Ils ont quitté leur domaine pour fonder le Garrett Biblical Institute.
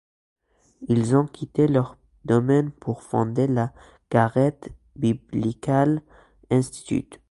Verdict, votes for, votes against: rejected, 1, 3